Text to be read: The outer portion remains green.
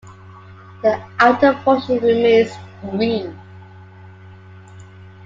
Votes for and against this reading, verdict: 2, 0, accepted